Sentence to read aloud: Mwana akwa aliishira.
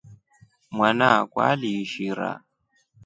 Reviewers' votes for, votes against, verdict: 3, 0, accepted